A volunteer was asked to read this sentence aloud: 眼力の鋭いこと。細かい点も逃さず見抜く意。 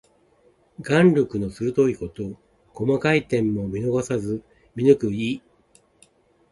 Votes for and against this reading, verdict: 2, 0, accepted